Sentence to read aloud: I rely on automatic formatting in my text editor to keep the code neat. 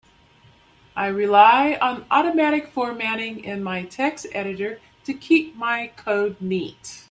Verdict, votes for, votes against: rejected, 0, 2